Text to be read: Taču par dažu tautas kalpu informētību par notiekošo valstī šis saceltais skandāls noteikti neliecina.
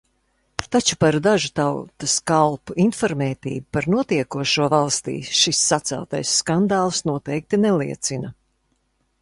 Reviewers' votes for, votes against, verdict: 0, 2, rejected